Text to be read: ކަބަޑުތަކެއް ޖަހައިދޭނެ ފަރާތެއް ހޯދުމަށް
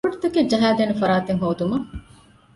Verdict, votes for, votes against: accepted, 2, 1